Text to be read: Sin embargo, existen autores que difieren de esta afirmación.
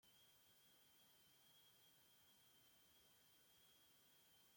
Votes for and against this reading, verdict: 0, 2, rejected